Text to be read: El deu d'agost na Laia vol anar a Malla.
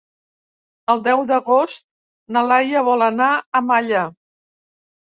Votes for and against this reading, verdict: 3, 0, accepted